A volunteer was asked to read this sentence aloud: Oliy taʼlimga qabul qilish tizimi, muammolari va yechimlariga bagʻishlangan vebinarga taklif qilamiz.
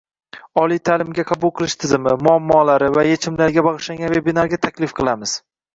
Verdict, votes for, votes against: rejected, 1, 2